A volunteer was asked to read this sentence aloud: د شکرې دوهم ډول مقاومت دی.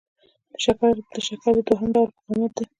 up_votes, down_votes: 2, 1